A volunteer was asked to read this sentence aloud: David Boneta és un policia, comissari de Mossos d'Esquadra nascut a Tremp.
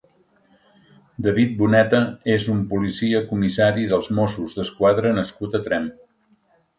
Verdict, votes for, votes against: rejected, 0, 2